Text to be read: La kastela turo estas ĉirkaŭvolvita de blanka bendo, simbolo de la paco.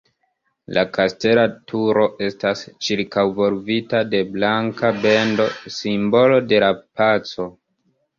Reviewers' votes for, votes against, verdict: 1, 2, rejected